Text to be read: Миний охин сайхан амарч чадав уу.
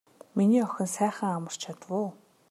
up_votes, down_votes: 2, 0